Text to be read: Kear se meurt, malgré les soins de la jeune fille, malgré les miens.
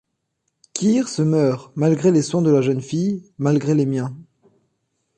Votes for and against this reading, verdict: 2, 0, accepted